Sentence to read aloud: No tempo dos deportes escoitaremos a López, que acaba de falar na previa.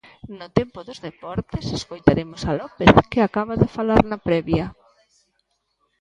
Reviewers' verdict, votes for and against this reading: accepted, 2, 0